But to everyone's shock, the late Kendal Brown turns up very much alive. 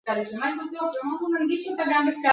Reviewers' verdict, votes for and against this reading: rejected, 0, 2